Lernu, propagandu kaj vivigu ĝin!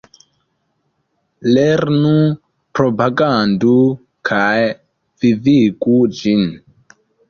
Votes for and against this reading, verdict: 2, 0, accepted